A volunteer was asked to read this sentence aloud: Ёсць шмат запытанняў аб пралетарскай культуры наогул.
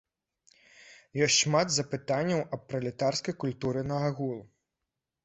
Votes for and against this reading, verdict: 1, 2, rejected